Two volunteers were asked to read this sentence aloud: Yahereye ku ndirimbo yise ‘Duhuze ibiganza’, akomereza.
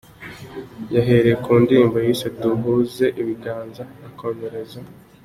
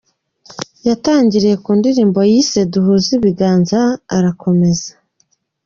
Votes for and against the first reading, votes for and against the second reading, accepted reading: 2, 0, 0, 2, first